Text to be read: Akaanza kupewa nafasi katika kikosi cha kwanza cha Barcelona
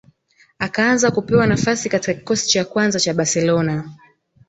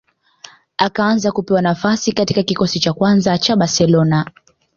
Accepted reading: second